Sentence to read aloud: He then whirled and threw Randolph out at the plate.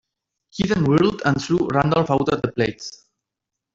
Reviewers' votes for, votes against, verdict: 1, 2, rejected